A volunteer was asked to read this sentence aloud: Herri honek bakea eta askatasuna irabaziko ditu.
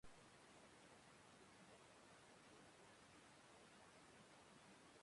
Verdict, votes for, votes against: rejected, 2, 4